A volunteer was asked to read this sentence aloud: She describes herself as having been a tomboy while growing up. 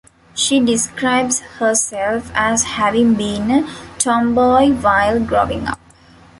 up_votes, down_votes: 0, 2